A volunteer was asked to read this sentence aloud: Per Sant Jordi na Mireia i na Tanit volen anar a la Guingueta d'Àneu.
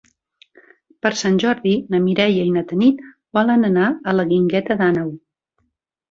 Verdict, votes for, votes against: accepted, 3, 0